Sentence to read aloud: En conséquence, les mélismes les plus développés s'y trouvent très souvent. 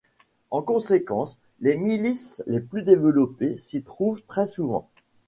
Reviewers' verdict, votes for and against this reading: rejected, 1, 2